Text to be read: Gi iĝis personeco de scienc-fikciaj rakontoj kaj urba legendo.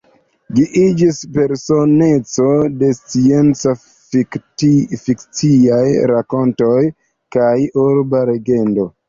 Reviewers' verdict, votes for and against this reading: rejected, 1, 2